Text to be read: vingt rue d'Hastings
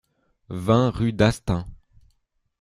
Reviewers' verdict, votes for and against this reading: rejected, 0, 2